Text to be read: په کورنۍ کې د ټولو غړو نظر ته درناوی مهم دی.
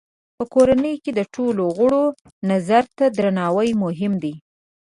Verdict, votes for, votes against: accepted, 6, 1